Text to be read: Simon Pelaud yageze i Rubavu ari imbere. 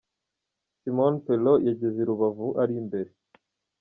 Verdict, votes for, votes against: rejected, 0, 2